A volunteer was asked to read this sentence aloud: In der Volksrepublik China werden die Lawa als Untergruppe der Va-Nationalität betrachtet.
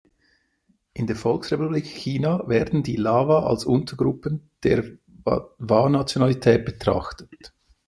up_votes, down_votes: 0, 2